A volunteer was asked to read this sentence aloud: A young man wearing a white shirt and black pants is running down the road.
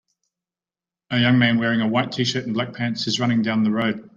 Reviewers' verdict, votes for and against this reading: rejected, 0, 2